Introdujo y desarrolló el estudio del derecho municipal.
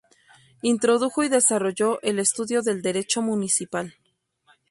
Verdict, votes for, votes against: accepted, 2, 0